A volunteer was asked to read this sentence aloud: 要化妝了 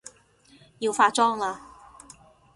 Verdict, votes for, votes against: rejected, 0, 2